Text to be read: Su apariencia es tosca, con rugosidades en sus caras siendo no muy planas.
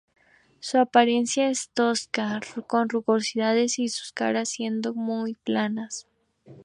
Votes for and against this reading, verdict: 0, 2, rejected